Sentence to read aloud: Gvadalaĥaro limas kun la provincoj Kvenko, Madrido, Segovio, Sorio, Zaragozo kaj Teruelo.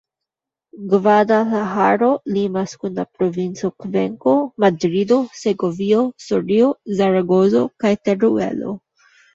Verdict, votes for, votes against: rejected, 1, 2